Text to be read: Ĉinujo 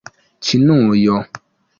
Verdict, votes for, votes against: accepted, 2, 0